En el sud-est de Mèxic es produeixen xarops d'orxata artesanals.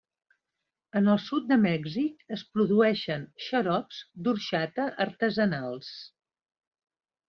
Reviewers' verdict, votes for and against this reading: rejected, 0, 2